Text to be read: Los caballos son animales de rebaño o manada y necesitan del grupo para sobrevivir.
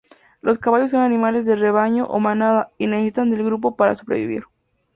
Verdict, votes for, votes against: accepted, 2, 0